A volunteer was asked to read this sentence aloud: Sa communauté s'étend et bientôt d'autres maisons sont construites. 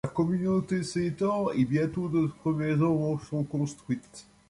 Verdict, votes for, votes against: rejected, 1, 2